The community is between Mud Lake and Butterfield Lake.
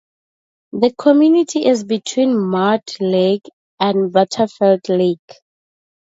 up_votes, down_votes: 2, 0